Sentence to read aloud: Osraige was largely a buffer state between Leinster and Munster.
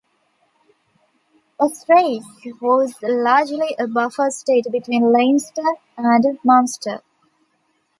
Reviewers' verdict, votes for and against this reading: accepted, 2, 1